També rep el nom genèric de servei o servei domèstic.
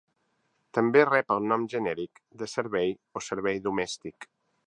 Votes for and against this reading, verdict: 2, 0, accepted